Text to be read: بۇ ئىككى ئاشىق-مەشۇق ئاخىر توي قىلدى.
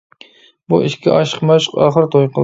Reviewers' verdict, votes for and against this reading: rejected, 0, 2